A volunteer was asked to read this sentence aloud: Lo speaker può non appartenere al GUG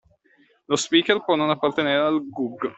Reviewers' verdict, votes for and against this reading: accepted, 2, 0